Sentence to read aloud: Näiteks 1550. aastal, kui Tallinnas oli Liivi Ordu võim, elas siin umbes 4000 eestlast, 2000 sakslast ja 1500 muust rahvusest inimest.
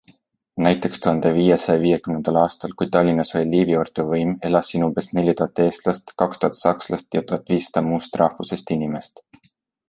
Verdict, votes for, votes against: rejected, 0, 2